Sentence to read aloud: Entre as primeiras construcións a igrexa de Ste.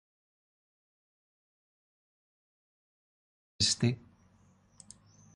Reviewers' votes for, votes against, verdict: 0, 2, rejected